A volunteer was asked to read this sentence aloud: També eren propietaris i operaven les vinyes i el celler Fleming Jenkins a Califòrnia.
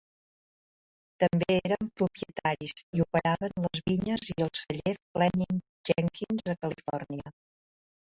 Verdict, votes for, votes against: accepted, 2, 1